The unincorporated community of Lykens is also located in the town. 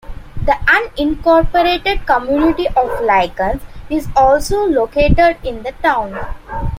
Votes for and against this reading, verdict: 1, 2, rejected